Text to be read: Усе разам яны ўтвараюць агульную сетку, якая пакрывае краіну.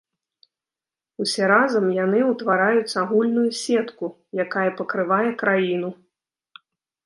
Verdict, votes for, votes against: accepted, 2, 0